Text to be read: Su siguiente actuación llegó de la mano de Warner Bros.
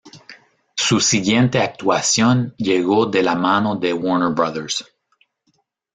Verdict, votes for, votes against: rejected, 0, 2